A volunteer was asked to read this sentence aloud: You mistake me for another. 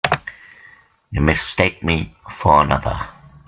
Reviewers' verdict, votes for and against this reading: accepted, 2, 0